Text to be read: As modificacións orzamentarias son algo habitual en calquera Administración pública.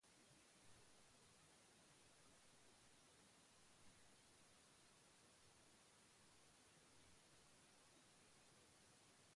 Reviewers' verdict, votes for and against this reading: rejected, 0, 2